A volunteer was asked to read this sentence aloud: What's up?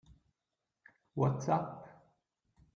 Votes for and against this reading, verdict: 2, 1, accepted